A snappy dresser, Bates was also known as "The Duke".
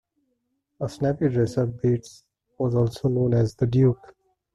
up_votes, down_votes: 2, 0